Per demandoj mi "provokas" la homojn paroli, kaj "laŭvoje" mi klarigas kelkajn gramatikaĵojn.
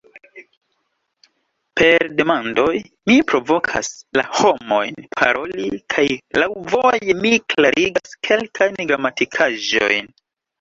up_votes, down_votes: 2, 0